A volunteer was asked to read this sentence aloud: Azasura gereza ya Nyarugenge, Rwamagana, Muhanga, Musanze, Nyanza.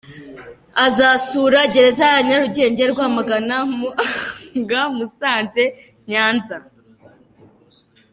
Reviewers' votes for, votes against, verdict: 0, 2, rejected